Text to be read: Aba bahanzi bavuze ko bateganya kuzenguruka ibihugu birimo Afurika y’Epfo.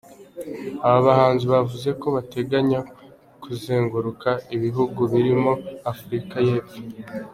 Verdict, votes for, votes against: accepted, 2, 1